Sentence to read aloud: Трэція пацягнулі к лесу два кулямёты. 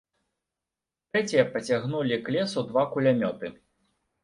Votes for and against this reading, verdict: 2, 0, accepted